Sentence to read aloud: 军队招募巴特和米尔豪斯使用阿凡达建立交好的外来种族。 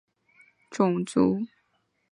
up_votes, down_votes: 0, 3